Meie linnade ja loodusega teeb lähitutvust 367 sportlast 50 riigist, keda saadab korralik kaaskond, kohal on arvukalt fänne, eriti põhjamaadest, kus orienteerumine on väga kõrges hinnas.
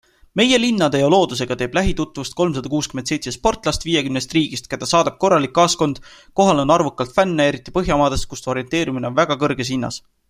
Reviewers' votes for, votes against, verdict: 0, 2, rejected